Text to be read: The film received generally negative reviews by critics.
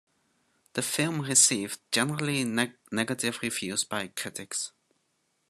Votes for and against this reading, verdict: 1, 2, rejected